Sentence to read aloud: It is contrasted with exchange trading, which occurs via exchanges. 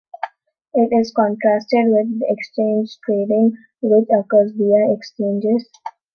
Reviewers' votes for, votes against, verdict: 2, 0, accepted